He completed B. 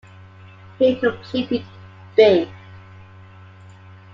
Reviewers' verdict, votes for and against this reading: accepted, 2, 0